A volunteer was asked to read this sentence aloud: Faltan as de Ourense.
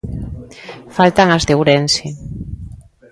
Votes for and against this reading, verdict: 2, 0, accepted